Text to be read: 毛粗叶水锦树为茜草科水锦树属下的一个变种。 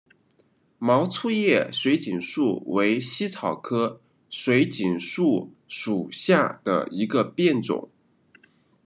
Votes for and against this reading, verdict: 1, 2, rejected